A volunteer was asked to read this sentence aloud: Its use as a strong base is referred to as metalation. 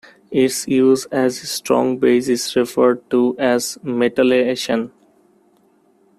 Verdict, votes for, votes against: rejected, 0, 2